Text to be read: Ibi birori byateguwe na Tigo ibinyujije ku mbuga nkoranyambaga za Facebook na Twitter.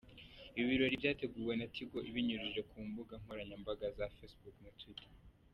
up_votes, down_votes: 2, 0